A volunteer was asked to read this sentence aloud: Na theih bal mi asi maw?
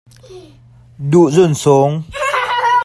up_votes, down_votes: 1, 2